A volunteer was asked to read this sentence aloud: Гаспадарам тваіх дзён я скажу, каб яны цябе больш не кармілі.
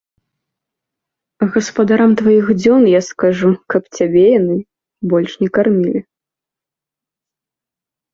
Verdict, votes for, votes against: rejected, 0, 2